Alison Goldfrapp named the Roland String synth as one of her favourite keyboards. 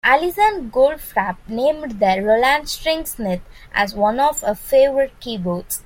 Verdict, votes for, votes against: rejected, 0, 2